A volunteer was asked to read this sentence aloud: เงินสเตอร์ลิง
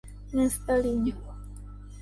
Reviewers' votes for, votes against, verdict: 2, 1, accepted